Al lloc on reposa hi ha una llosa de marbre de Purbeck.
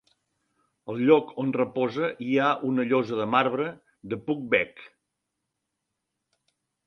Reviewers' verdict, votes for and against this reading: rejected, 0, 2